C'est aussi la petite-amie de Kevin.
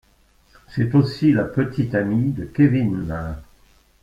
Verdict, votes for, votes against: rejected, 1, 2